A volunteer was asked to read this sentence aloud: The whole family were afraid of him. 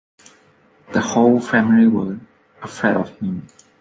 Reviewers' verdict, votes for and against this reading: accepted, 2, 0